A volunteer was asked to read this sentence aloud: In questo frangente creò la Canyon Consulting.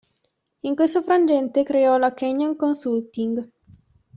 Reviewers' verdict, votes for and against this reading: accepted, 2, 0